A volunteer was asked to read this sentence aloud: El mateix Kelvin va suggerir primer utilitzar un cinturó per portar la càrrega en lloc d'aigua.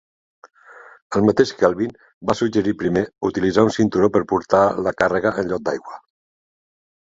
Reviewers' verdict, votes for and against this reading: accepted, 3, 0